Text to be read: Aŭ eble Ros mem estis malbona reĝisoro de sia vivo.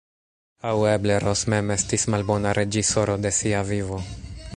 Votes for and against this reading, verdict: 1, 2, rejected